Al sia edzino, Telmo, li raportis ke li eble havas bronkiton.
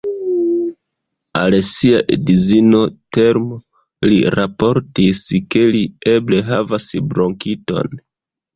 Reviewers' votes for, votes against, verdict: 0, 2, rejected